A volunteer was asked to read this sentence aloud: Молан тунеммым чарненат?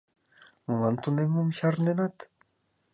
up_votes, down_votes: 3, 0